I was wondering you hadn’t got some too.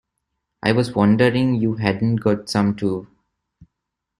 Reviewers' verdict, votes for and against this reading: accepted, 2, 0